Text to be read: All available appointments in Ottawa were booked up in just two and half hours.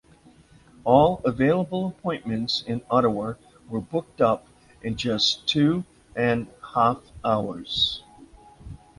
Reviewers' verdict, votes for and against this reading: accepted, 2, 0